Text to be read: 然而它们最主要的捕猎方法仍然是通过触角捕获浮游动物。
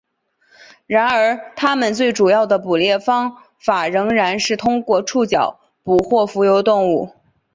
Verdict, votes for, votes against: accepted, 3, 2